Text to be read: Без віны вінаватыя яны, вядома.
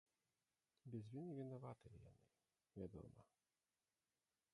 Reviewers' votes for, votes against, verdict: 0, 2, rejected